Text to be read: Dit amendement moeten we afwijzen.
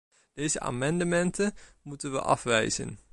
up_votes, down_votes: 0, 2